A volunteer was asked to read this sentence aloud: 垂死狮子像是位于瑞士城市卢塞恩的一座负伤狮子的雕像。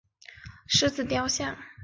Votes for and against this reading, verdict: 0, 2, rejected